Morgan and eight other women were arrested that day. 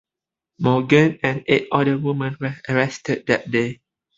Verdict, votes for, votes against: accepted, 2, 1